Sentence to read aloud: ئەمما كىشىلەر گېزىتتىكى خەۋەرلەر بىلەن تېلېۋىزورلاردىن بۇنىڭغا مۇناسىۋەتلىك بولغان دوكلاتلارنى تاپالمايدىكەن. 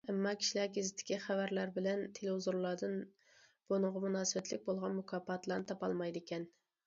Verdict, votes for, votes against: rejected, 0, 2